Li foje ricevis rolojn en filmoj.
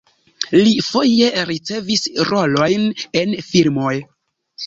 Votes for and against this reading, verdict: 0, 2, rejected